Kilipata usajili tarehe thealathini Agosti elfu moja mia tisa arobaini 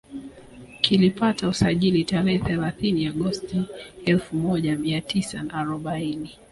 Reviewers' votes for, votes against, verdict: 0, 2, rejected